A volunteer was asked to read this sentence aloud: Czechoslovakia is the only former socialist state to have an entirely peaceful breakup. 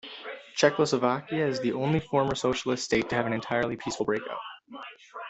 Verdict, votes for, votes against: accepted, 2, 1